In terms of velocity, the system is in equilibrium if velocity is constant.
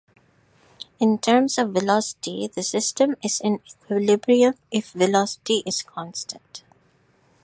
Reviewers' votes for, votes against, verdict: 2, 0, accepted